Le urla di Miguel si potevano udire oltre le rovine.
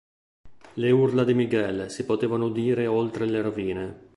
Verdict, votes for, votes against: accepted, 2, 0